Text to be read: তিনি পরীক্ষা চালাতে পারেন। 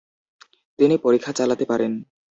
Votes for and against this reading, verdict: 2, 0, accepted